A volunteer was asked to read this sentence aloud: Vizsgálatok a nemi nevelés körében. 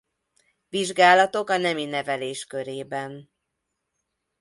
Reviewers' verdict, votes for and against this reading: accepted, 2, 0